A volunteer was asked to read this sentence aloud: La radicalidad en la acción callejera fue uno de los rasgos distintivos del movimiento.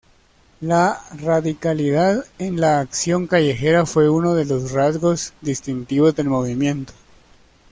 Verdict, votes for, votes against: rejected, 1, 2